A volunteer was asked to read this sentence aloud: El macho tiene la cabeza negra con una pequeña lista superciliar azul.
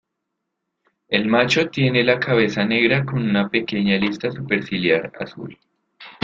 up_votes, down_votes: 2, 0